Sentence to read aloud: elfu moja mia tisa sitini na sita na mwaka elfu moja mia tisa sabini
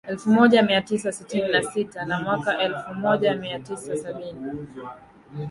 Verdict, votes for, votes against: rejected, 0, 2